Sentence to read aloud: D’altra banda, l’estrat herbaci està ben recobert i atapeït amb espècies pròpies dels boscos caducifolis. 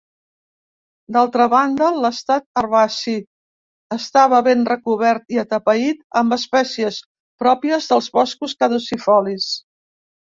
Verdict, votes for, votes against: rejected, 0, 2